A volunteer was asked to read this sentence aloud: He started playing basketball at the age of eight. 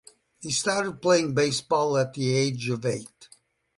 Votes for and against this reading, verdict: 0, 2, rejected